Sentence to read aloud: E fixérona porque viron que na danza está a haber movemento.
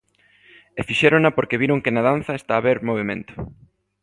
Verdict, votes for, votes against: accepted, 2, 0